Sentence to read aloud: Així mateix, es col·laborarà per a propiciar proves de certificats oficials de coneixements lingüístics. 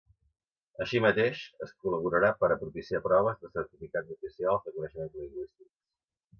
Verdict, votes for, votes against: rejected, 0, 2